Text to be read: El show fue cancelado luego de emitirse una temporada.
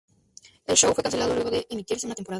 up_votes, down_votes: 0, 2